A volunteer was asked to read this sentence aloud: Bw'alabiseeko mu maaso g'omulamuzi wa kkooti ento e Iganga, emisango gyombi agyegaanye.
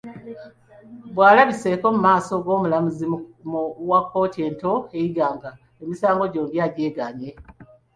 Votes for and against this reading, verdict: 2, 0, accepted